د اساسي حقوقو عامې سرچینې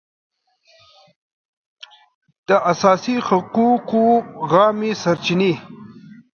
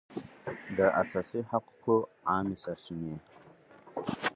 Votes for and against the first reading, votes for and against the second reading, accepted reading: 2, 0, 0, 6, first